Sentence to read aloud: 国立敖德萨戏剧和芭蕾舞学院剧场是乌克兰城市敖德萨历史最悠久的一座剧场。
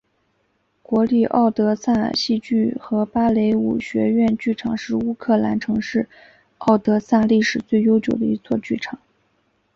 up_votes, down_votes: 4, 2